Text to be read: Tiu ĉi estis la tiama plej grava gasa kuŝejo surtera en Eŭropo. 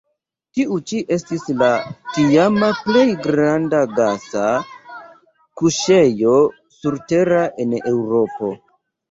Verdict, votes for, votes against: rejected, 1, 2